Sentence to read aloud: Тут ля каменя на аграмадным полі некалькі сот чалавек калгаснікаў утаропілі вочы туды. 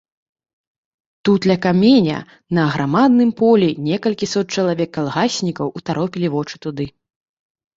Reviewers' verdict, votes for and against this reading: rejected, 0, 2